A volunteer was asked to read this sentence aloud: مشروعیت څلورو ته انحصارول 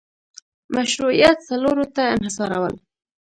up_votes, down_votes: 0, 2